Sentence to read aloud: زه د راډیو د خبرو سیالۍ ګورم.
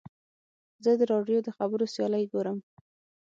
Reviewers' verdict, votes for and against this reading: accepted, 6, 0